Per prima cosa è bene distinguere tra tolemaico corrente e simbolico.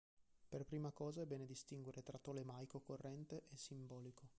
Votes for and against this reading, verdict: 2, 1, accepted